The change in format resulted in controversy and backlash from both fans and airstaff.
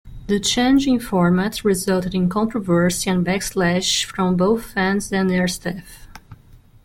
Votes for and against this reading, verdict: 2, 1, accepted